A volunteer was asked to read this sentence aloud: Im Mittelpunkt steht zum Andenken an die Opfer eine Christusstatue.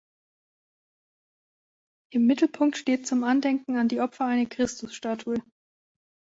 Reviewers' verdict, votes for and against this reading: accepted, 2, 0